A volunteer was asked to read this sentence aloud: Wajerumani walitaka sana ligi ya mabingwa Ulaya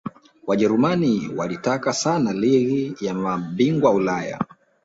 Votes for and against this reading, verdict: 1, 2, rejected